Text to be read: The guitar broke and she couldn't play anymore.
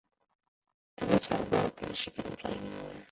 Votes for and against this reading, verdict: 1, 2, rejected